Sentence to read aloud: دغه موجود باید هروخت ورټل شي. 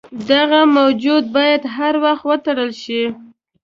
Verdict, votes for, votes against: rejected, 1, 2